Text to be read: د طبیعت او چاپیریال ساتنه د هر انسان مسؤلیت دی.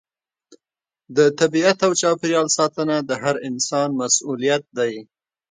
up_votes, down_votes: 2, 0